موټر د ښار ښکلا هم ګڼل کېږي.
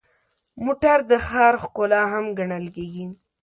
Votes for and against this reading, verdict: 2, 0, accepted